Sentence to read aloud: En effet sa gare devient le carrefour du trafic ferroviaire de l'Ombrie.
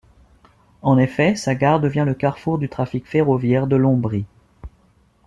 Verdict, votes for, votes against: accepted, 2, 0